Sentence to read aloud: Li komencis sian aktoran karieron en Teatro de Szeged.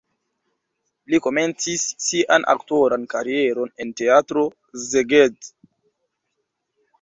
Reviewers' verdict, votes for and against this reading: rejected, 1, 2